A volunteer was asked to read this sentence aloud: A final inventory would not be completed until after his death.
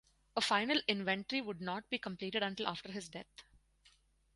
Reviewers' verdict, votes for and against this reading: rejected, 2, 2